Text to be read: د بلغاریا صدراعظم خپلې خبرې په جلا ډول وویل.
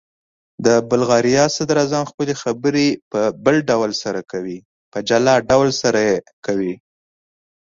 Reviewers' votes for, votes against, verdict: 0, 3, rejected